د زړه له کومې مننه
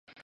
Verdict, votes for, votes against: rejected, 0, 2